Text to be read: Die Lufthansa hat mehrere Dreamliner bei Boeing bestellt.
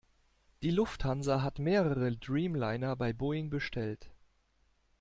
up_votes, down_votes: 2, 0